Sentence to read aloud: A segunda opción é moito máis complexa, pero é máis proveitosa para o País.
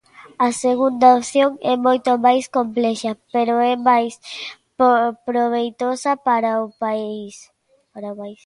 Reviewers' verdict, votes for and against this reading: rejected, 0, 2